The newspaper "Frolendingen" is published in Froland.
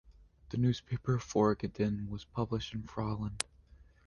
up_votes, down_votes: 1, 2